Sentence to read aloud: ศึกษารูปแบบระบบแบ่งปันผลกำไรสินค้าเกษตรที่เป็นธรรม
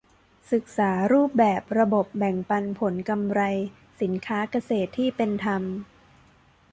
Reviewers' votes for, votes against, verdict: 2, 0, accepted